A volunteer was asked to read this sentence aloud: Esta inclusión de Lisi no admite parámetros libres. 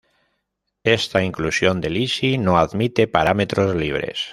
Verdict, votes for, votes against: accepted, 2, 0